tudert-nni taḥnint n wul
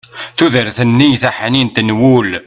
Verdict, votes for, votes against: rejected, 1, 2